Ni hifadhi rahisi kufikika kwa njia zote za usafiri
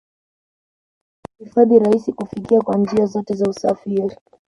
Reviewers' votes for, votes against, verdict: 1, 2, rejected